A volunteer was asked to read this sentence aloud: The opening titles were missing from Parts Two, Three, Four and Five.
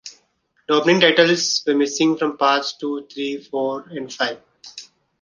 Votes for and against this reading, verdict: 2, 1, accepted